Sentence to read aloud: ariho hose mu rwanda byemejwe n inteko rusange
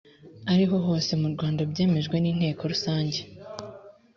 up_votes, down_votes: 3, 0